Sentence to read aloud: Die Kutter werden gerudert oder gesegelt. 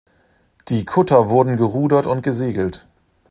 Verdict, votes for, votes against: rejected, 0, 2